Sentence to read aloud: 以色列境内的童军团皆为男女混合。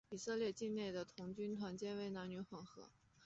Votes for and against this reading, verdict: 3, 2, accepted